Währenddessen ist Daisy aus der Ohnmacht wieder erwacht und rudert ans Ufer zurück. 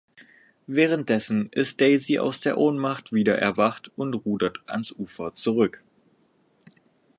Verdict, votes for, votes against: accepted, 4, 0